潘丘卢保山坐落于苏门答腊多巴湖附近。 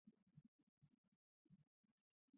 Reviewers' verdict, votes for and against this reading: rejected, 0, 6